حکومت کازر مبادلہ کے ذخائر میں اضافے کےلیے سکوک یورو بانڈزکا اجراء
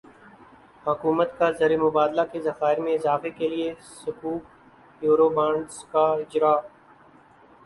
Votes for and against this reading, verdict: 4, 0, accepted